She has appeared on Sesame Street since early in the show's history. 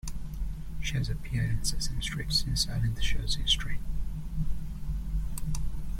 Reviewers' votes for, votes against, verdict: 0, 2, rejected